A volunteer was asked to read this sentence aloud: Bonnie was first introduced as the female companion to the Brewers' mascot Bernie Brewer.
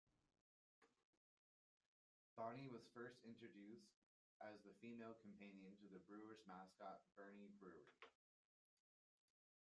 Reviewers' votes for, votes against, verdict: 0, 2, rejected